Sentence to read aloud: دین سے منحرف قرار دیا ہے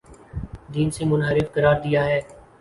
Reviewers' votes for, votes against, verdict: 2, 0, accepted